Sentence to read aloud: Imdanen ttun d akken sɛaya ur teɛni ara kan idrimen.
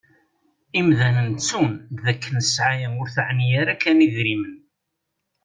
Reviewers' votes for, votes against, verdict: 2, 0, accepted